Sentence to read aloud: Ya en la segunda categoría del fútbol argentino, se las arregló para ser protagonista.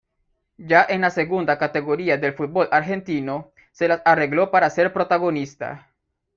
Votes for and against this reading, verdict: 1, 2, rejected